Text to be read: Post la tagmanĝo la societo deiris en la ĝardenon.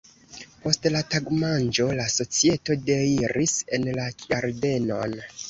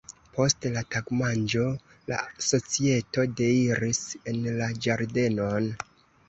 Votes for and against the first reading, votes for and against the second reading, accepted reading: 2, 0, 1, 2, first